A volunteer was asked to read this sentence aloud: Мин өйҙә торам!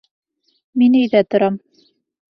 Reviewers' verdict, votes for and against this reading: accepted, 2, 1